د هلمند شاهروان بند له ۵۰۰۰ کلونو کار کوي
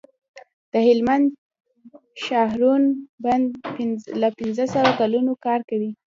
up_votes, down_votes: 0, 2